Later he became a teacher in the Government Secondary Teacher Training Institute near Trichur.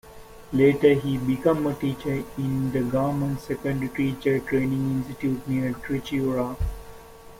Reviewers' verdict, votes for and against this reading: rejected, 0, 2